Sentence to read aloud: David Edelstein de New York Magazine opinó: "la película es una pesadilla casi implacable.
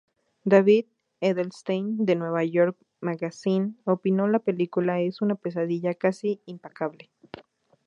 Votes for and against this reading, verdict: 0, 2, rejected